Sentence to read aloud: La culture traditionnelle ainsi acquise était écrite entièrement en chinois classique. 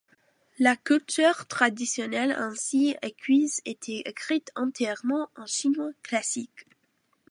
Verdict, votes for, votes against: rejected, 1, 2